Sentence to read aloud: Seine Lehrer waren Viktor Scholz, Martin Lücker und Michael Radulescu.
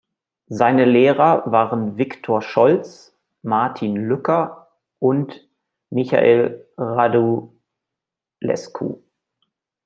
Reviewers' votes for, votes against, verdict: 2, 0, accepted